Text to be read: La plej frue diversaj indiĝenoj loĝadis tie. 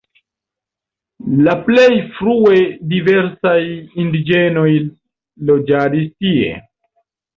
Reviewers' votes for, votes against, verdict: 2, 0, accepted